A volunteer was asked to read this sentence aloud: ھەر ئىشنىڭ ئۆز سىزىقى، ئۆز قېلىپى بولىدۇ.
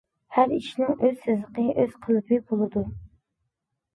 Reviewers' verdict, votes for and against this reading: accepted, 2, 0